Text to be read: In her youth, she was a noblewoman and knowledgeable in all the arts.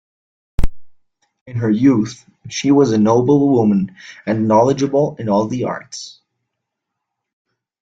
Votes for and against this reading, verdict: 2, 1, accepted